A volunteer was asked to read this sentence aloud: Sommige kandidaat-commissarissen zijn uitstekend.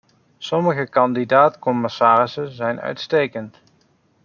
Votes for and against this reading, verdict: 2, 0, accepted